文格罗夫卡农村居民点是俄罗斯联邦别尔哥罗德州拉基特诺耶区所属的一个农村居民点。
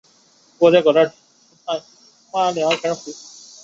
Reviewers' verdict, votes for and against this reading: rejected, 2, 3